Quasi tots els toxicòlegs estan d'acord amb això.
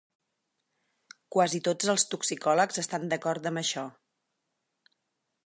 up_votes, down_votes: 6, 0